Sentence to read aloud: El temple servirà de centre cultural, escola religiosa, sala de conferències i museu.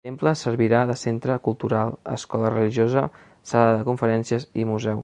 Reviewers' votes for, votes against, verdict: 2, 3, rejected